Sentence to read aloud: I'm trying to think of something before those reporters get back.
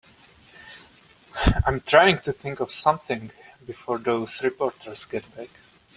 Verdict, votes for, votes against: accepted, 2, 0